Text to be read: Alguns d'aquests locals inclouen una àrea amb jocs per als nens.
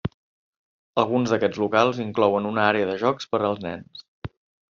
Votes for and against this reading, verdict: 0, 2, rejected